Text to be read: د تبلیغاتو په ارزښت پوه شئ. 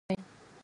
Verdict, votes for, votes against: rejected, 2, 4